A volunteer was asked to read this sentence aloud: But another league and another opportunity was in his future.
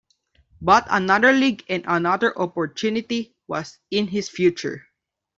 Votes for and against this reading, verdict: 2, 0, accepted